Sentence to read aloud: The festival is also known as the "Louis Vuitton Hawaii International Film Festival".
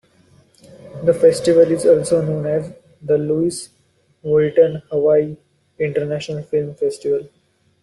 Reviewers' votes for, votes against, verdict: 0, 2, rejected